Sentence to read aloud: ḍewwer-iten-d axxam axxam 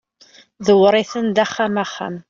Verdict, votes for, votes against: accepted, 2, 0